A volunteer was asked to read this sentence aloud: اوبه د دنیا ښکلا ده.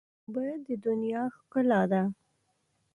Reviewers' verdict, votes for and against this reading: rejected, 1, 2